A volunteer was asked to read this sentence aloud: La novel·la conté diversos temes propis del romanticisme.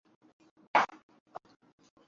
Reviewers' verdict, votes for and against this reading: rejected, 0, 2